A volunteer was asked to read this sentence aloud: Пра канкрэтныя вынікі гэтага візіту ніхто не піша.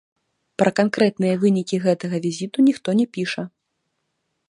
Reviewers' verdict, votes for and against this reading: rejected, 1, 3